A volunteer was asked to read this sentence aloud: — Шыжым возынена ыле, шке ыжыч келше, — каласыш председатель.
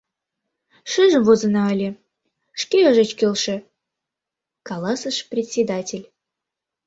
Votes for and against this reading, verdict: 0, 2, rejected